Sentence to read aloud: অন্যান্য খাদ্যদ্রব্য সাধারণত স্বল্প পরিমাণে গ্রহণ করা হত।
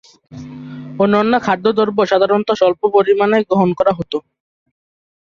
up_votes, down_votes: 1, 3